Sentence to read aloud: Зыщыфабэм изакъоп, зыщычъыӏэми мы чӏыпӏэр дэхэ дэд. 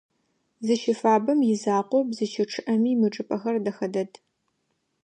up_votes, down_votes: 2, 1